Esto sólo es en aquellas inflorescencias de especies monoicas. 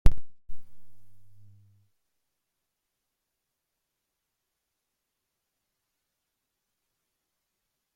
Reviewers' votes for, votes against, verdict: 0, 2, rejected